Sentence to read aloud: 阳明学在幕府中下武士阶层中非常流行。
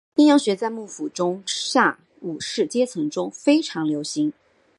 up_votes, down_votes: 1, 3